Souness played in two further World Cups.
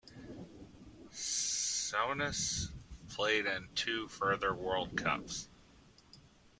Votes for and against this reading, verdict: 1, 2, rejected